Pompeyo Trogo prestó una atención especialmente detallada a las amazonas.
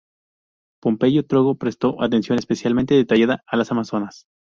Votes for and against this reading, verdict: 0, 2, rejected